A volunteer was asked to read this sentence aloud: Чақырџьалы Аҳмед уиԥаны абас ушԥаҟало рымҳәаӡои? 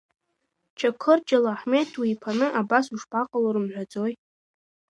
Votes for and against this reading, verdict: 2, 1, accepted